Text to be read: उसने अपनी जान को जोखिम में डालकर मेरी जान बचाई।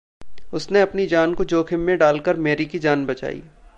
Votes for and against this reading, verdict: 0, 2, rejected